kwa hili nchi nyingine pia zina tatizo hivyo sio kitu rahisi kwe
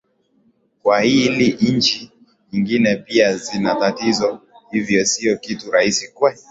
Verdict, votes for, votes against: accepted, 2, 0